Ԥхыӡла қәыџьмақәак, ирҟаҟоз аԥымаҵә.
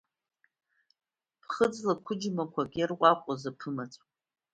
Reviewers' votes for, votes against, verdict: 1, 2, rejected